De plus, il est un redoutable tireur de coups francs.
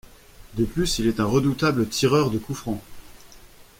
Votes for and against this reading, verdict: 2, 0, accepted